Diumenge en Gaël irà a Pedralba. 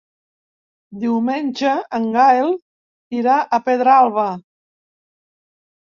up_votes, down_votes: 1, 2